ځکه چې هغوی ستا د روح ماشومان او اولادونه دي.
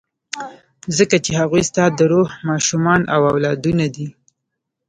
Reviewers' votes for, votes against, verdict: 0, 2, rejected